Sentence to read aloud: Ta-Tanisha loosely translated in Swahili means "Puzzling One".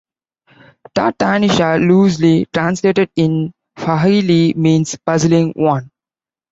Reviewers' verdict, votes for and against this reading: accepted, 2, 1